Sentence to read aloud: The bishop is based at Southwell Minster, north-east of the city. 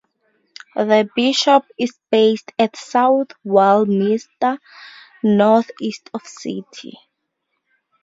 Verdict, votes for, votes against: rejected, 0, 4